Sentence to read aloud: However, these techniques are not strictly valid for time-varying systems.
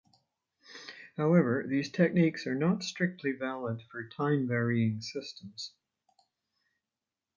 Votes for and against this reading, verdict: 2, 0, accepted